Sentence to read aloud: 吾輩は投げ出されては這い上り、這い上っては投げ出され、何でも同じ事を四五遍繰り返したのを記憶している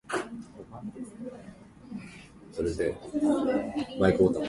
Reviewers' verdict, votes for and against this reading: rejected, 0, 2